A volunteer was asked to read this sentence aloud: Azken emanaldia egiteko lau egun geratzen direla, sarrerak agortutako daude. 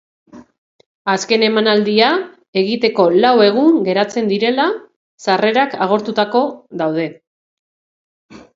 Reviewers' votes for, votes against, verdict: 0, 2, rejected